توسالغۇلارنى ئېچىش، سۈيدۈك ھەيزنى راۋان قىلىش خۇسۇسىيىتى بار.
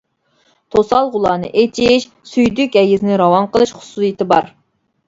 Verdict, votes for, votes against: accepted, 2, 1